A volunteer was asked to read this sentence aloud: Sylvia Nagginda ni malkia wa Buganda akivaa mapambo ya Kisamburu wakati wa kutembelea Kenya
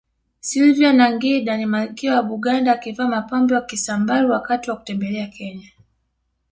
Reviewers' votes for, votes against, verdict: 2, 0, accepted